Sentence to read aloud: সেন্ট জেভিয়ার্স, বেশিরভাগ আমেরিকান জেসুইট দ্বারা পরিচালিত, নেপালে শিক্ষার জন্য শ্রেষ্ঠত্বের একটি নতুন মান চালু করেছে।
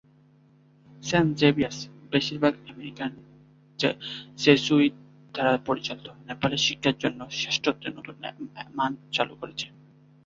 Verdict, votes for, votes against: rejected, 0, 2